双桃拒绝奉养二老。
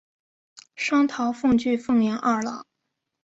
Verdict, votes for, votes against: rejected, 2, 3